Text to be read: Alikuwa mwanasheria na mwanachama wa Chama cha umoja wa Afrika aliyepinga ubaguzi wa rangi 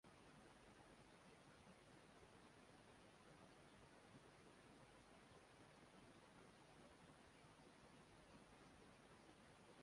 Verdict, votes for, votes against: rejected, 0, 2